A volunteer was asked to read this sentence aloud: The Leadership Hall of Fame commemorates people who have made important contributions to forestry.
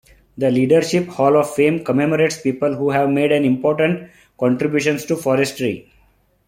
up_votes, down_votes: 2, 0